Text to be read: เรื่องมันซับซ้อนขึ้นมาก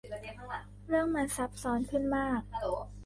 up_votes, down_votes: 2, 1